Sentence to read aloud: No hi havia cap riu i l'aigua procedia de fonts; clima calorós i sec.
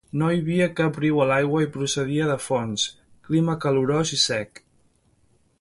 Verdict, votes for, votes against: rejected, 0, 2